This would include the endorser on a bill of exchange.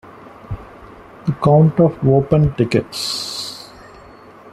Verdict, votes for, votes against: rejected, 0, 2